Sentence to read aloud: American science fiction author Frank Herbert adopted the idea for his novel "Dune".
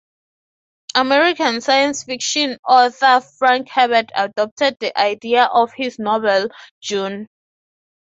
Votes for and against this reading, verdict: 3, 0, accepted